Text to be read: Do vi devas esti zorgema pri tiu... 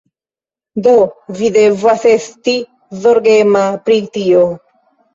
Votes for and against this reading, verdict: 1, 2, rejected